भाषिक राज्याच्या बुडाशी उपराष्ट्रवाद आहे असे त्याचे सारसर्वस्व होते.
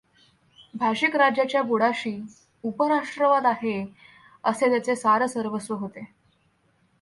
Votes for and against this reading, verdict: 2, 0, accepted